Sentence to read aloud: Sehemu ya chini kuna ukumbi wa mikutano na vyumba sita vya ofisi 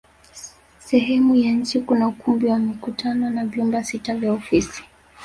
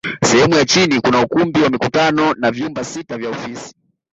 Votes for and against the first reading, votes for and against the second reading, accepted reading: 1, 2, 2, 0, second